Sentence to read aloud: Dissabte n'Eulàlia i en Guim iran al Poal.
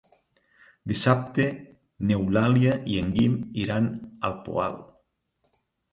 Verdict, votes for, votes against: accepted, 3, 0